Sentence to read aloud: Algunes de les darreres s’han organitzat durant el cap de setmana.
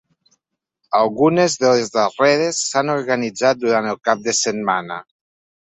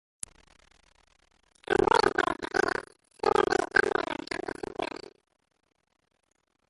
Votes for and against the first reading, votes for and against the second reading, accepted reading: 3, 1, 0, 2, first